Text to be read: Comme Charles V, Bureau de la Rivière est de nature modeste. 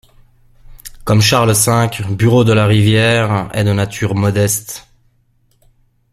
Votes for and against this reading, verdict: 2, 0, accepted